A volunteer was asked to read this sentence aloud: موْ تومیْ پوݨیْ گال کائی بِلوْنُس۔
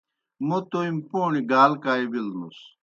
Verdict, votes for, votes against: accepted, 2, 0